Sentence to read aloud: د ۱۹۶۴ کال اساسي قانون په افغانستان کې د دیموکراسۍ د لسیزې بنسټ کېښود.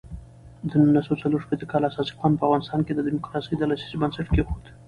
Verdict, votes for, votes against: rejected, 0, 2